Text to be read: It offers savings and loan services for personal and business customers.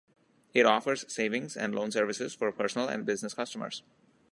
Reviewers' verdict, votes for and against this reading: accepted, 2, 0